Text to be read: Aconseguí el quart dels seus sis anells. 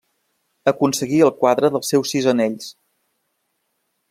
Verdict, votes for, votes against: rejected, 0, 2